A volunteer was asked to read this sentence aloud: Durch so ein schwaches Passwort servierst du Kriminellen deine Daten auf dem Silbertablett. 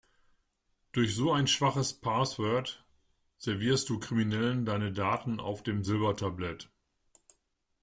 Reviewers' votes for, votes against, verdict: 0, 2, rejected